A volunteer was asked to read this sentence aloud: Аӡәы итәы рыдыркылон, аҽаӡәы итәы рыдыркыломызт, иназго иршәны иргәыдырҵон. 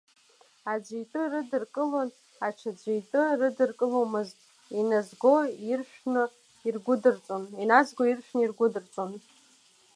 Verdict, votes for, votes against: rejected, 0, 2